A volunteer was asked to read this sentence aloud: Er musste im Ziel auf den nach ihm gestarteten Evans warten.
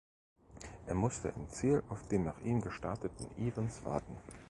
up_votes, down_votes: 2, 1